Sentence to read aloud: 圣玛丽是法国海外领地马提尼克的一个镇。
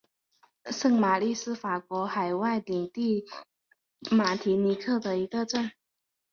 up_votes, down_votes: 2, 1